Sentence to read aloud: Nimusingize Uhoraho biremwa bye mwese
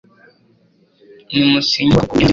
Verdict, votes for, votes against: rejected, 0, 2